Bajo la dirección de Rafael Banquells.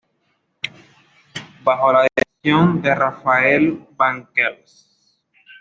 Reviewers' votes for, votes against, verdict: 2, 0, accepted